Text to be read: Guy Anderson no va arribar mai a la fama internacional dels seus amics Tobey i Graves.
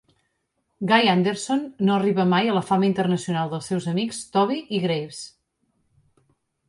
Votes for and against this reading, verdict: 1, 2, rejected